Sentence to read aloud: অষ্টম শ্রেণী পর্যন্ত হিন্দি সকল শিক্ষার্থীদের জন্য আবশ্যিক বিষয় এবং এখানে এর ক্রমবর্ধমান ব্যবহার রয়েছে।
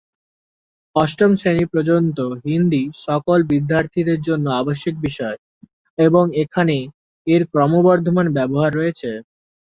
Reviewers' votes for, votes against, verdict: 0, 2, rejected